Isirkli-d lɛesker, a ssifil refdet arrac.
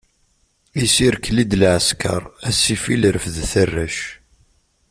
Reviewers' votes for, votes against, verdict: 2, 0, accepted